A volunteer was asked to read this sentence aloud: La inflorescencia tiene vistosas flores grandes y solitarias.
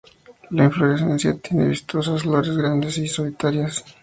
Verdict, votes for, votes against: rejected, 0, 2